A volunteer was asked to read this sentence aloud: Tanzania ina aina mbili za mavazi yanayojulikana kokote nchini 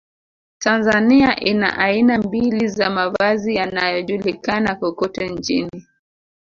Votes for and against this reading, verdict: 2, 0, accepted